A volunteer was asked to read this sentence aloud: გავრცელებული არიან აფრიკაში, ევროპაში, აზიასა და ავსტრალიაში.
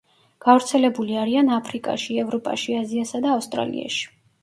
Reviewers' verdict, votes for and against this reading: accepted, 2, 0